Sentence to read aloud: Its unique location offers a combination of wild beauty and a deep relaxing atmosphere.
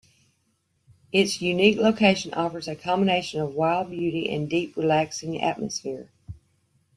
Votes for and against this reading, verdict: 2, 0, accepted